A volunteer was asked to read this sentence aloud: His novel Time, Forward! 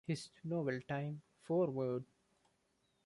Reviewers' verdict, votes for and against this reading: accepted, 2, 1